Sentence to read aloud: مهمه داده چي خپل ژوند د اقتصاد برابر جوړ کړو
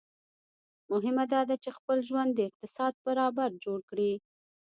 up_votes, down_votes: 1, 2